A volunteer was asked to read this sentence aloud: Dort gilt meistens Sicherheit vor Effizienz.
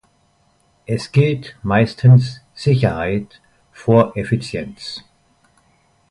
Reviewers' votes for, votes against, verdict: 1, 2, rejected